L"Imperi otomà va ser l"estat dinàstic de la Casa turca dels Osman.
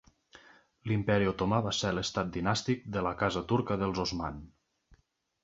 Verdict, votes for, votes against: accepted, 4, 0